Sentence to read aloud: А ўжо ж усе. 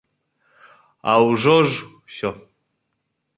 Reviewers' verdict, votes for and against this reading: accepted, 3, 0